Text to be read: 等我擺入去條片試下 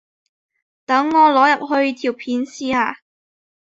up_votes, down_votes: 1, 2